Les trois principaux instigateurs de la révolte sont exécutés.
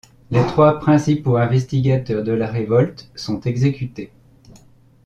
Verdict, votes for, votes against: rejected, 1, 2